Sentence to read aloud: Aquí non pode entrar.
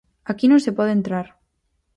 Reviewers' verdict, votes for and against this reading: rejected, 0, 4